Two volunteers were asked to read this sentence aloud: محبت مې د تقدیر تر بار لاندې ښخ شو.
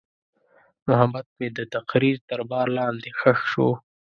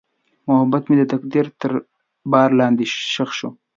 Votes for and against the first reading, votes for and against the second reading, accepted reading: 0, 2, 2, 0, second